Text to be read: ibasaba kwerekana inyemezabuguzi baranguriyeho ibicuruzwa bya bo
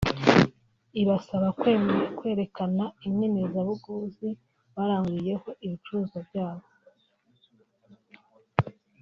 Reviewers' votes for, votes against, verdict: 0, 2, rejected